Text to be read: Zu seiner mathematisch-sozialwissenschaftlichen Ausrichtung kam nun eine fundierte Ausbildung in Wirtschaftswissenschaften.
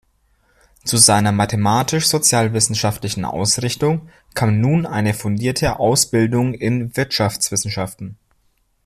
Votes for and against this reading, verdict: 2, 0, accepted